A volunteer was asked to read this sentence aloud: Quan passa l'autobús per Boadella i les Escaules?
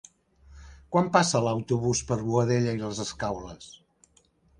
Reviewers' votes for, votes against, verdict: 3, 0, accepted